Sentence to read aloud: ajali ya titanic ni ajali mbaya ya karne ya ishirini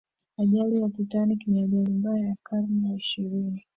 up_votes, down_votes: 1, 2